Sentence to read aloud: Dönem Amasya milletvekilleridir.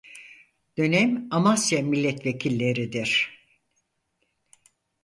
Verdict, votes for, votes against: accepted, 4, 0